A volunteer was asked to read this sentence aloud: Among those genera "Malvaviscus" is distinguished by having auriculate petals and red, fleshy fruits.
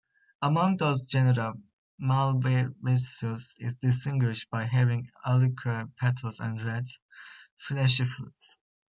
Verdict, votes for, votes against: rejected, 1, 2